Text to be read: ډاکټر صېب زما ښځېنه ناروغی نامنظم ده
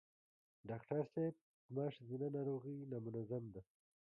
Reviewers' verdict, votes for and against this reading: rejected, 1, 2